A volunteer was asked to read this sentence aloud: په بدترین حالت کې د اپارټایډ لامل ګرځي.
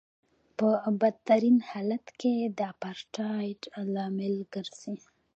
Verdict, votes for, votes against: rejected, 1, 2